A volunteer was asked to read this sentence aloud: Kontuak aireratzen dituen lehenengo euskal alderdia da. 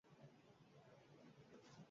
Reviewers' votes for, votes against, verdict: 0, 4, rejected